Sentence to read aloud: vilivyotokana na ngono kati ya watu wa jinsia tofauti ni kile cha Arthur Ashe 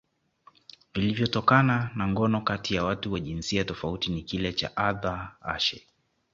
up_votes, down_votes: 2, 1